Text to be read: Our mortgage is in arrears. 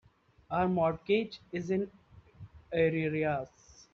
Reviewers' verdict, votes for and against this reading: rejected, 0, 2